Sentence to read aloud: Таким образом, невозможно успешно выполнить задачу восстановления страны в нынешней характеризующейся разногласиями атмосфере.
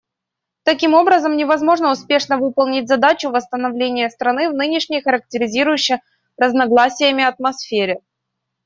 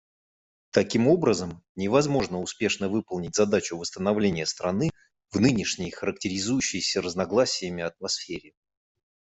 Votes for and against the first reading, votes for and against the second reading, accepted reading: 0, 2, 2, 0, second